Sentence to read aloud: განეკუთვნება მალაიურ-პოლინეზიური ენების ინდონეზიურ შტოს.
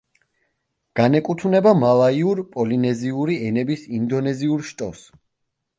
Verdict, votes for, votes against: accepted, 2, 0